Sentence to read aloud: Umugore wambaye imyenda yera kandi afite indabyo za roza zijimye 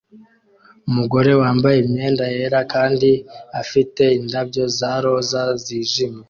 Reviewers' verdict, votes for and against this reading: accepted, 2, 0